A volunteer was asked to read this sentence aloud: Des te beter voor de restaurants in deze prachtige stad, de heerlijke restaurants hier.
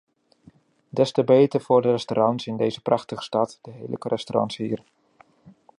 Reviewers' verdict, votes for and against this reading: rejected, 0, 2